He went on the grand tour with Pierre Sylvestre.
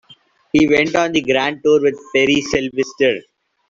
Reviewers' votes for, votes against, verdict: 2, 1, accepted